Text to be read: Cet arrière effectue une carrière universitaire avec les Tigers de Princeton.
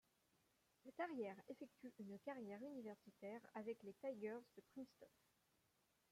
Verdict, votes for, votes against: rejected, 1, 2